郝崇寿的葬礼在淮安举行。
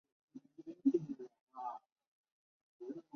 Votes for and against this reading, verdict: 1, 2, rejected